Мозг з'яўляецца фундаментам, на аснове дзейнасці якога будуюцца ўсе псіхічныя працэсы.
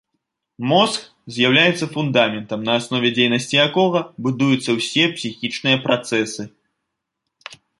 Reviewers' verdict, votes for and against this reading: accepted, 2, 0